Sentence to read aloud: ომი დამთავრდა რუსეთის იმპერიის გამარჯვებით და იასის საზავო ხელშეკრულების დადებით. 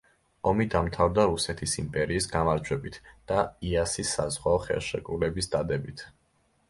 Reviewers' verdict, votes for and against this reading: rejected, 1, 2